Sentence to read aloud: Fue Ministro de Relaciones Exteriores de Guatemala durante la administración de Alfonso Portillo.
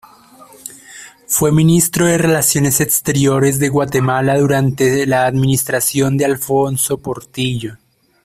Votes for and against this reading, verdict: 2, 0, accepted